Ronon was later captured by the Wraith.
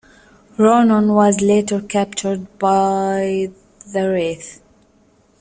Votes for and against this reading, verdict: 2, 0, accepted